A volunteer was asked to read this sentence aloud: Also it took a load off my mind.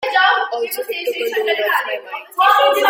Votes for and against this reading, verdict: 0, 2, rejected